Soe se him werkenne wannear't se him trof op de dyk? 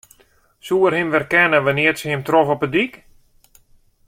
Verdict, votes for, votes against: accepted, 2, 1